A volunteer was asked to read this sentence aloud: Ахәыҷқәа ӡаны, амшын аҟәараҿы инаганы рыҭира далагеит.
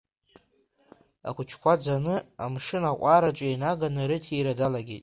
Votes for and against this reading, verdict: 0, 2, rejected